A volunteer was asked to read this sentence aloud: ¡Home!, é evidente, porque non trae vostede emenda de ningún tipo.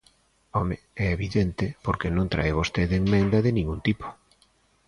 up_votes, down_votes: 2, 0